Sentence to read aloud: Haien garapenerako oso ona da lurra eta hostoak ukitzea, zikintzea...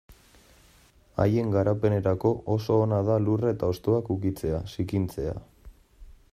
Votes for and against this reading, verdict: 2, 1, accepted